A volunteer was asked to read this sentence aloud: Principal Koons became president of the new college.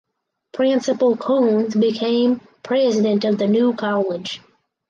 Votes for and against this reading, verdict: 4, 0, accepted